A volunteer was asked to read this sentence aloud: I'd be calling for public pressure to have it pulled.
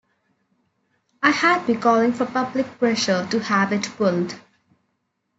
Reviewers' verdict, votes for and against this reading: rejected, 1, 2